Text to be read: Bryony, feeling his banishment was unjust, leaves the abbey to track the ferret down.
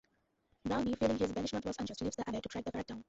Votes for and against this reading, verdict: 1, 2, rejected